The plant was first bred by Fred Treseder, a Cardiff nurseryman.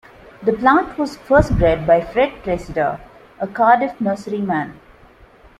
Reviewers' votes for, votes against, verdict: 2, 0, accepted